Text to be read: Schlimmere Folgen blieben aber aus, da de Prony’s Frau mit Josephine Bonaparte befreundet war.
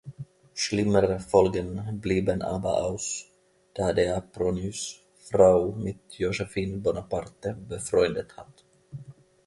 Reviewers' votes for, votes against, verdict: 1, 2, rejected